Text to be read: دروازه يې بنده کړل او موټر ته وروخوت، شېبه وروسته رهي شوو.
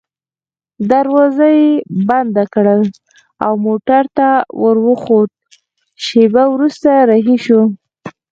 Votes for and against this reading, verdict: 2, 4, rejected